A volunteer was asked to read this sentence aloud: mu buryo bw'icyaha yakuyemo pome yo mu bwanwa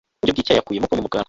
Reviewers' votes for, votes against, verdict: 1, 2, rejected